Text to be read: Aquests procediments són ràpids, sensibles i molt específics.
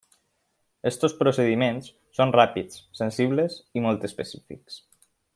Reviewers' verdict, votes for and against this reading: rejected, 0, 2